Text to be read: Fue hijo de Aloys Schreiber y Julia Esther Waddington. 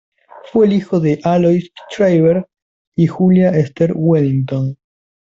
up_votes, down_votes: 0, 2